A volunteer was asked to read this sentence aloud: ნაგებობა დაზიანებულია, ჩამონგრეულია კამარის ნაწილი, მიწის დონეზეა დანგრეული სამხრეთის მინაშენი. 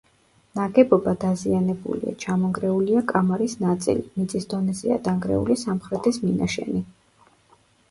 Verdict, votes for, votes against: accepted, 2, 1